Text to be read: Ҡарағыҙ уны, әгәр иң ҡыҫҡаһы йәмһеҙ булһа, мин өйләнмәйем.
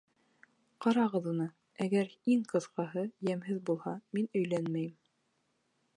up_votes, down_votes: 1, 2